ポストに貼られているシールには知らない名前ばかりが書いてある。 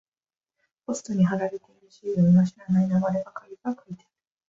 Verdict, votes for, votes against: rejected, 0, 2